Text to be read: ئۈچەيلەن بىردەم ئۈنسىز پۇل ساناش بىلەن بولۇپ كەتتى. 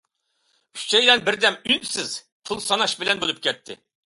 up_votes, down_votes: 2, 0